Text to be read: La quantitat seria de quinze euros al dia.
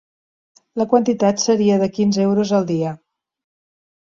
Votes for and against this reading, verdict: 3, 0, accepted